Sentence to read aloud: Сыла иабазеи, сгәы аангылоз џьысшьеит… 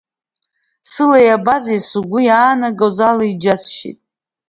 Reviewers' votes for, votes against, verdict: 2, 0, accepted